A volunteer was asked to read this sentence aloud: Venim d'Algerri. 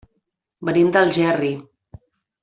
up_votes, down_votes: 2, 0